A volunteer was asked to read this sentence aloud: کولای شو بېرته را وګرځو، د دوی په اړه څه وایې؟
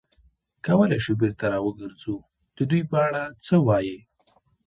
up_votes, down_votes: 1, 2